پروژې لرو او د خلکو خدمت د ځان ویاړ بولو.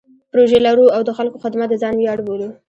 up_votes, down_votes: 2, 0